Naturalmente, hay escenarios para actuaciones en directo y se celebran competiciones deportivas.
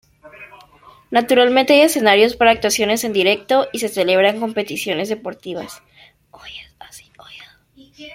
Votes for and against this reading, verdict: 1, 2, rejected